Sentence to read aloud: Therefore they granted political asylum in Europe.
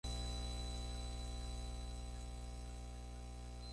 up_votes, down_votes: 0, 4